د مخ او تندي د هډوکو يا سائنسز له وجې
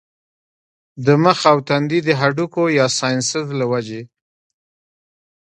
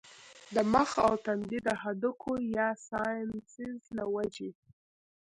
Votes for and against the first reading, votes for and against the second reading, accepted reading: 2, 0, 0, 2, first